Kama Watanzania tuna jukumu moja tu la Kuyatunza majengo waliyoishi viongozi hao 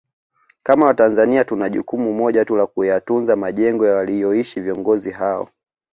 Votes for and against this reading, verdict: 2, 0, accepted